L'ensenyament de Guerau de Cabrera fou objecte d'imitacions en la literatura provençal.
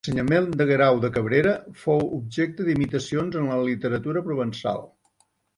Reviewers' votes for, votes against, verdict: 0, 2, rejected